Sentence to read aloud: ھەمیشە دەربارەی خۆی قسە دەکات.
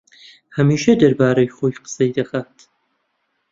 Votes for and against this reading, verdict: 1, 2, rejected